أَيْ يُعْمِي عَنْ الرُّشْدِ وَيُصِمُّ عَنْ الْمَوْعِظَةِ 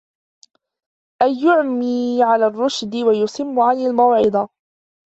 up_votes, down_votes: 0, 2